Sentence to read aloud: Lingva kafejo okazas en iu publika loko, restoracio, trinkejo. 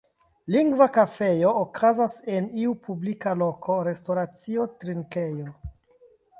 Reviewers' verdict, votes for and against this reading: accepted, 2, 0